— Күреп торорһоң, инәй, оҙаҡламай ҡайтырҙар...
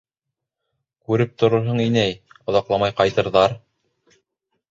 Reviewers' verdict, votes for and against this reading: accepted, 2, 0